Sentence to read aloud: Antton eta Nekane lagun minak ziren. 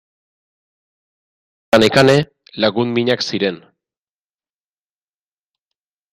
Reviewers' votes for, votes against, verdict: 0, 3, rejected